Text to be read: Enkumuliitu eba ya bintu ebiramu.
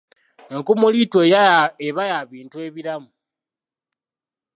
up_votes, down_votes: 0, 2